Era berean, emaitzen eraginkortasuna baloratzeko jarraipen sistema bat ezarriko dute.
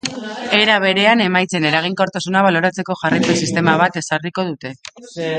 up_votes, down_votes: 2, 1